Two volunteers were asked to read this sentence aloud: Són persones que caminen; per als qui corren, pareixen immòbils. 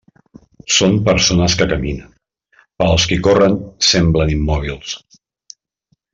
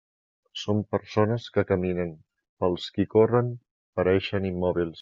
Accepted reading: second